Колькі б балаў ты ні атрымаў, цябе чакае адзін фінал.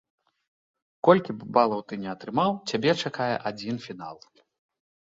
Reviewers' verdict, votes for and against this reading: accepted, 2, 0